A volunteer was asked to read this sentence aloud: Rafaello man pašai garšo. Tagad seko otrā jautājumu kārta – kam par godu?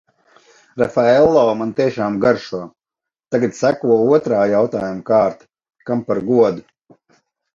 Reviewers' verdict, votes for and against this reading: rejected, 0, 2